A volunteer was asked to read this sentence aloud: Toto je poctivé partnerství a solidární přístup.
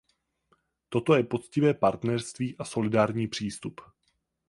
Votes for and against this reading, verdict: 8, 0, accepted